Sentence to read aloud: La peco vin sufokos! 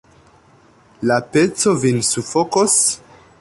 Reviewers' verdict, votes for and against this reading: rejected, 0, 2